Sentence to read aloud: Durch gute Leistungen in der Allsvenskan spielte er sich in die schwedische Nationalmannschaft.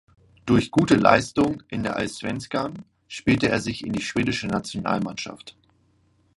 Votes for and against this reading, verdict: 1, 2, rejected